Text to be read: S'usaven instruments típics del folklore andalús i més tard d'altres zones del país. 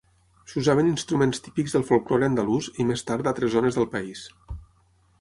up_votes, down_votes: 6, 3